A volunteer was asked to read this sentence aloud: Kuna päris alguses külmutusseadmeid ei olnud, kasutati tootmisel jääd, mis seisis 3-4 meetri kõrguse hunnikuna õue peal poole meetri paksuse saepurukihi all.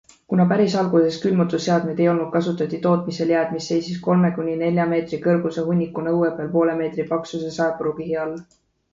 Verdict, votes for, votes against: rejected, 0, 2